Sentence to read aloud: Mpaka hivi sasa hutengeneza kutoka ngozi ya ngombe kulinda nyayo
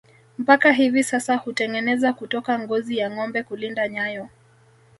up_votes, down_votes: 2, 0